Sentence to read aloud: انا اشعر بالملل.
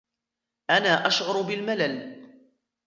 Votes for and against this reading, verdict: 1, 2, rejected